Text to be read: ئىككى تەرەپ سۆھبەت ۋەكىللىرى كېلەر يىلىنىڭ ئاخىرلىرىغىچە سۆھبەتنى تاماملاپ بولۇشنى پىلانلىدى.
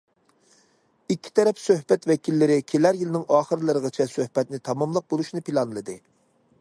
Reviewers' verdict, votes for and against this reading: accepted, 2, 0